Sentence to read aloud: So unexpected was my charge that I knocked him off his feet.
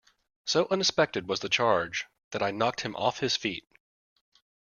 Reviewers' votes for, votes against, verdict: 1, 2, rejected